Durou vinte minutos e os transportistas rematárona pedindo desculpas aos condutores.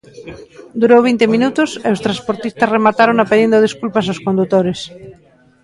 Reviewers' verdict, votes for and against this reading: accepted, 2, 0